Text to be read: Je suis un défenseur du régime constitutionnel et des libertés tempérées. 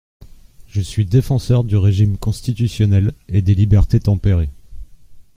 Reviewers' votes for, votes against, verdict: 0, 2, rejected